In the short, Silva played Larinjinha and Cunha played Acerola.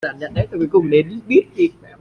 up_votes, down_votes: 0, 2